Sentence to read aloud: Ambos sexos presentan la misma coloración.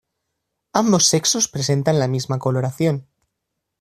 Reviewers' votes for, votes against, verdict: 2, 0, accepted